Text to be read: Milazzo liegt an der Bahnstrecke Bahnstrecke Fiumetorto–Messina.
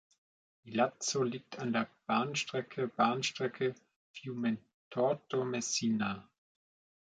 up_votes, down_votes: 1, 2